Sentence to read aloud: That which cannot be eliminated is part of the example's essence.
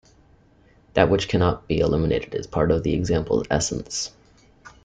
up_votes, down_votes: 1, 2